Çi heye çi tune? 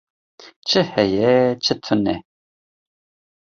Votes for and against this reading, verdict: 2, 0, accepted